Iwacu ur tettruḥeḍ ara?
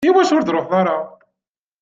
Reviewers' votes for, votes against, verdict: 1, 2, rejected